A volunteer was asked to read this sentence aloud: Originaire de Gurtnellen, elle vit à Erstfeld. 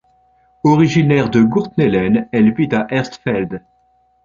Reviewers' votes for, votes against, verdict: 2, 1, accepted